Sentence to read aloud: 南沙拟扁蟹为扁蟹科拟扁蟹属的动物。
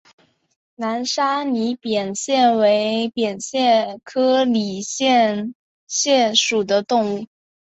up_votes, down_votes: 3, 0